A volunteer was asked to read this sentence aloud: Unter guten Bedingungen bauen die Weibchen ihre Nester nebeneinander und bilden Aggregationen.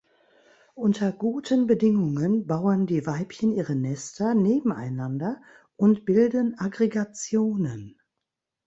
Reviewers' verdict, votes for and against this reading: rejected, 1, 2